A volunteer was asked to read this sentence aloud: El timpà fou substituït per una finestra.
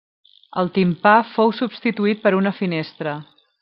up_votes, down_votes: 3, 0